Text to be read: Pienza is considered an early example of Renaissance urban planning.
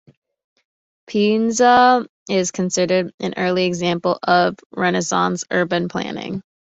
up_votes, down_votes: 2, 0